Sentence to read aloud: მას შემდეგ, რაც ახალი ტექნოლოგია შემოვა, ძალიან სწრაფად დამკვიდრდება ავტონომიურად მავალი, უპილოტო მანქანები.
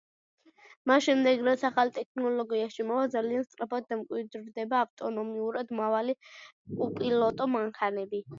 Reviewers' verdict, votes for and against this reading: accepted, 2, 0